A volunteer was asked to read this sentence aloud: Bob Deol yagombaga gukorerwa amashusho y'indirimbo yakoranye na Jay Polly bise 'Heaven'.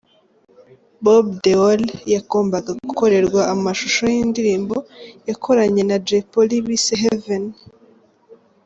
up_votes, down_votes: 2, 0